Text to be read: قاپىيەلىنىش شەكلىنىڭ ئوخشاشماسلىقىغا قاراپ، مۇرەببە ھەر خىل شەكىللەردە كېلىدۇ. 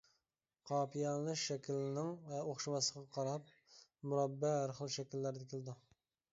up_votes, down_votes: 0, 2